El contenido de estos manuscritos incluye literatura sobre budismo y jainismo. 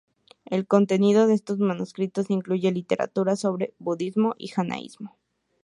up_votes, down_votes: 0, 4